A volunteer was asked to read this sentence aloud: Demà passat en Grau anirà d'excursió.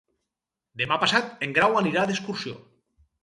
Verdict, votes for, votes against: accepted, 4, 0